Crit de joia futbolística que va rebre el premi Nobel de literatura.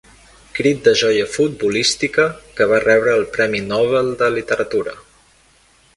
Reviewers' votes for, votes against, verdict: 3, 0, accepted